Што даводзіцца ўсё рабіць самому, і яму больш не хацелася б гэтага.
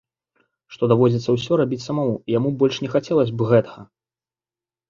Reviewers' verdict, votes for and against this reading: rejected, 0, 2